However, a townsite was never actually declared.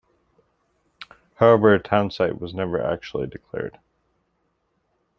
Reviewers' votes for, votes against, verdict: 2, 0, accepted